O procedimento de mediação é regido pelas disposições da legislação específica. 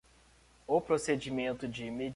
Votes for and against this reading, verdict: 0, 2, rejected